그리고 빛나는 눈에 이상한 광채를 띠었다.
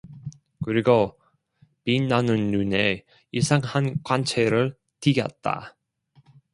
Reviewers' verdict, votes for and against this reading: accepted, 2, 1